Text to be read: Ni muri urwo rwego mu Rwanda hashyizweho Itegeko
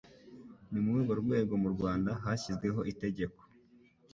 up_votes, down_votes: 2, 0